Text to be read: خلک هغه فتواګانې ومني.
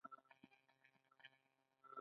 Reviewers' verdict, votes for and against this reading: rejected, 1, 2